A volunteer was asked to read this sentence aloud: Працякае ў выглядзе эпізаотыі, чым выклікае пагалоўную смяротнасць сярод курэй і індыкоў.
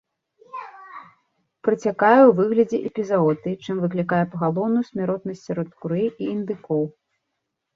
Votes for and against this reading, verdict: 0, 2, rejected